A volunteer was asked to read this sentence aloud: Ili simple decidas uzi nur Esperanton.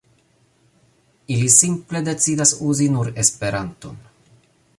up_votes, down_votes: 1, 2